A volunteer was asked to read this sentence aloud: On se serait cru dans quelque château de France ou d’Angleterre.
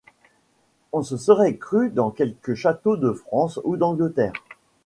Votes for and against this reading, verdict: 2, 0, accepted